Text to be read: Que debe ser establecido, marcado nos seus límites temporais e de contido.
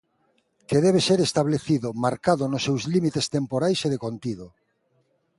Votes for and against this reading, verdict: 2, 0, accepted